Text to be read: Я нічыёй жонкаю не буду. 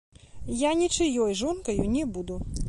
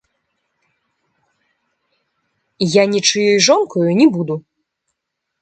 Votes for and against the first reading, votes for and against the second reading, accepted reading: 2, 1, 1, 2, first